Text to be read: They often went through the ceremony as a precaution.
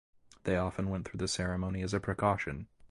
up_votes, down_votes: 2, 0